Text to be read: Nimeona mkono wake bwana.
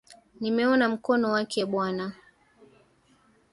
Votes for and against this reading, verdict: 1, 2, rejected